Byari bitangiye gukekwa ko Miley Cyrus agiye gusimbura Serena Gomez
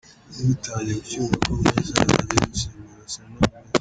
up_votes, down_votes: 1, 2